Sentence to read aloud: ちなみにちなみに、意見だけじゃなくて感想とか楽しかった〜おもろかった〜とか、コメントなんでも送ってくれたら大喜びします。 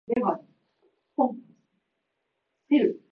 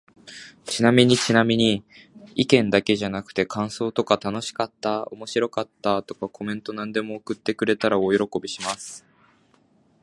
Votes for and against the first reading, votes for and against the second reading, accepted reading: 0, 2, 3, 2, second